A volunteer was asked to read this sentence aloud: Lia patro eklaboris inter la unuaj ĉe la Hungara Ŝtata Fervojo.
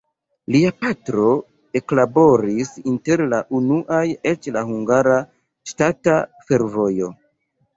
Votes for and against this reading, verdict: 1, 2, rejected